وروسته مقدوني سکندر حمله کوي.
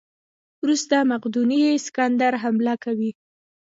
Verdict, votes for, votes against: accepted, 2, 0